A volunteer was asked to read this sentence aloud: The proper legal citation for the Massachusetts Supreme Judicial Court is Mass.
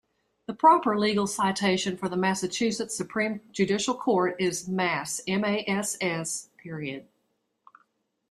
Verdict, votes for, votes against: rejected, 1, 2